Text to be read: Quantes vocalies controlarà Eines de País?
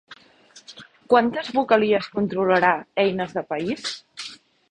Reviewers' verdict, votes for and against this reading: accepted, 3, 0